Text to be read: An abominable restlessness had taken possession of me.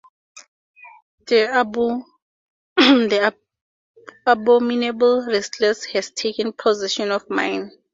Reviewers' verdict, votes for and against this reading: rejected, 2, 2